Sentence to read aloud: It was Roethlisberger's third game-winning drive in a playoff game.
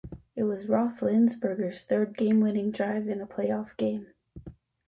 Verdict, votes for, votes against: rejected, 1, 2